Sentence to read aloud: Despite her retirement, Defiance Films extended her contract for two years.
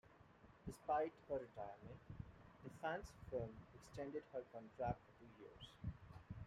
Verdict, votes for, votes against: rejected, 1, 2